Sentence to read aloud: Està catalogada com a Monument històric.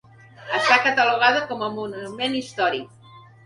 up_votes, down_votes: 1, 2